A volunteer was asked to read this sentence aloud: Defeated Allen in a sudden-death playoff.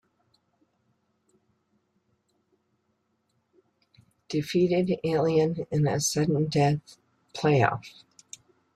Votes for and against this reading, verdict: 0, 2, rejected